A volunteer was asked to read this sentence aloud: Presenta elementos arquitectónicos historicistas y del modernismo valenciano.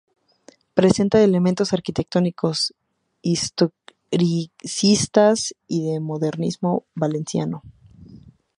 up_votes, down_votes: 0, 2